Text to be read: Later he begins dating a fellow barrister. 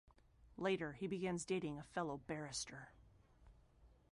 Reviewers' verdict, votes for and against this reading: accepted, 2, 1